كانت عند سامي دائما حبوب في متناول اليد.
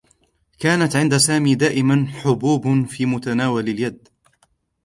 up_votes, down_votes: 2, 0